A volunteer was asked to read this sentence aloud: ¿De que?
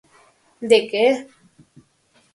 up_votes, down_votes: 4, 0